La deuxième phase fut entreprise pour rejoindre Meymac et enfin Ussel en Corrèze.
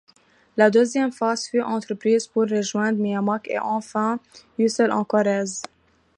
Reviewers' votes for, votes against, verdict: 2, 0, accepted